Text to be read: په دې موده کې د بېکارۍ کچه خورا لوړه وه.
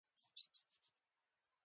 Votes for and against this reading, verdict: 1, 2, rejected